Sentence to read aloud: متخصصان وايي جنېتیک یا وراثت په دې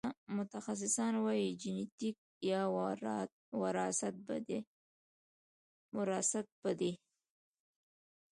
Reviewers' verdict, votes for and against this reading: accepted, 2, 0